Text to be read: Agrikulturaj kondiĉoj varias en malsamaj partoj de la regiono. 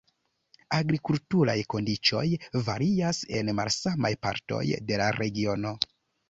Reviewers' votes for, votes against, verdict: 1, 2, rejected